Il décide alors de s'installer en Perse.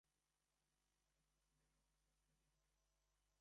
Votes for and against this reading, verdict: 1, 2, rejected